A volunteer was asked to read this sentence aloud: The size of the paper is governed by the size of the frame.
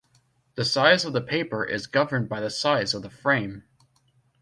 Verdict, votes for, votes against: accepted, 2, 0